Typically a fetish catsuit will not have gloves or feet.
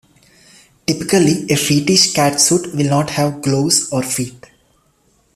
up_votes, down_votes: 0, 2